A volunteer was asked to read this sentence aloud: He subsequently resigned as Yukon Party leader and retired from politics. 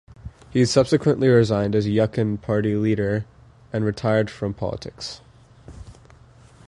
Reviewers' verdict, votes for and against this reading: rejected, 1, 2